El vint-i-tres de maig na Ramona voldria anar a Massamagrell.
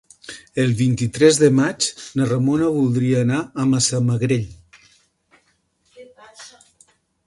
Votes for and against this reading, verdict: 3, 0, accepted